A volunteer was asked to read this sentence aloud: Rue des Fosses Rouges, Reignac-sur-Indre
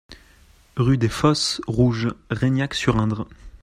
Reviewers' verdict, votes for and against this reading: accepted, 2, 0